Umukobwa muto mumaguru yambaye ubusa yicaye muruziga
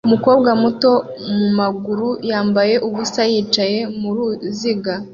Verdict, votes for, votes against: accepted, 2, 0